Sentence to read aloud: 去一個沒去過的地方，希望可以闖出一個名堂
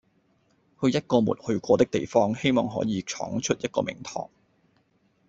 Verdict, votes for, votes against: accepted, 2, 0